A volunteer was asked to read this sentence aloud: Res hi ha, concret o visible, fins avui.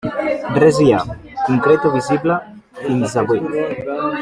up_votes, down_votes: 2, 1